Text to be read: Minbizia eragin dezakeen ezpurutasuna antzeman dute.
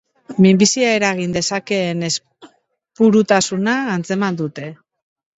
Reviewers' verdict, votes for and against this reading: rejected, 1, 3